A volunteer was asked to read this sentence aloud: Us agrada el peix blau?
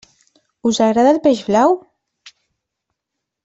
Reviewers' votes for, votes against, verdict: 2, 0, accepted